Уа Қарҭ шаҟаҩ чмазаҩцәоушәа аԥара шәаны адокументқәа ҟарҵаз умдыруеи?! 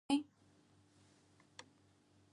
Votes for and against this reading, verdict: 0, 2, rejected